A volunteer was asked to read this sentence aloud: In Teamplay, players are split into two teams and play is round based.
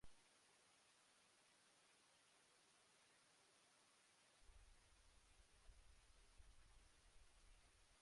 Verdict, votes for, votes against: rejected, 0, 2